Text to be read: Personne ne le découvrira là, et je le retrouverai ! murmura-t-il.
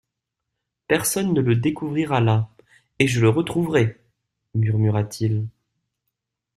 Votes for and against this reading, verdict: 2, 0, accepted